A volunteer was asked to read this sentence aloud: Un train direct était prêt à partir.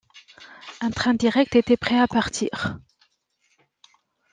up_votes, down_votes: 2, 0